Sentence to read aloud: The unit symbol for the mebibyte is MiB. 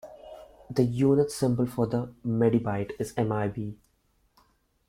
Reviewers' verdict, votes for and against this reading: rejected, 1, 2